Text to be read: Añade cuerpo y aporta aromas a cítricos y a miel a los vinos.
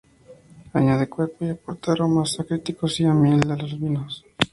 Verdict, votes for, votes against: rejected, 0, 2